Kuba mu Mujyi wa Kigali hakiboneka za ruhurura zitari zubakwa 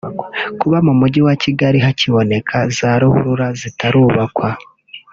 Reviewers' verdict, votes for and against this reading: rejected, 0, 2